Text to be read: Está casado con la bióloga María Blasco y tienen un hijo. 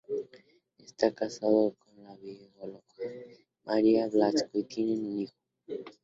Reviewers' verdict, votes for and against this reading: rejected, 0, 4